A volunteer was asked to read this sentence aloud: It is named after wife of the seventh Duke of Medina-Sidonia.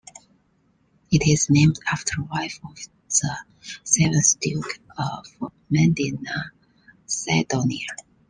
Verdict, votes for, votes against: accepted, 2, 1